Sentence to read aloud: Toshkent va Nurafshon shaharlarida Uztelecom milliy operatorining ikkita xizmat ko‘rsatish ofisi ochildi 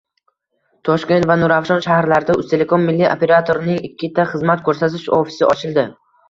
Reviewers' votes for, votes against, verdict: 2, 0, accepted